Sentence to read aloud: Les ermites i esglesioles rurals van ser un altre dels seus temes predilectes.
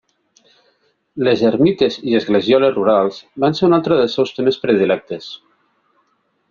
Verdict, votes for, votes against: accepted, 2, 0